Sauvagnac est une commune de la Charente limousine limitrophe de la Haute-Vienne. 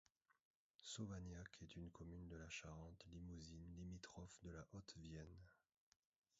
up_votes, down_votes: 0, 2